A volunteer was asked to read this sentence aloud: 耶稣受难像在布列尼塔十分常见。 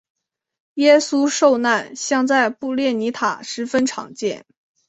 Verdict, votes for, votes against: accepted, 4, 0